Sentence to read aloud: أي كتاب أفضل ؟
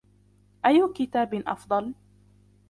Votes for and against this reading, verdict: 2, 0, accepted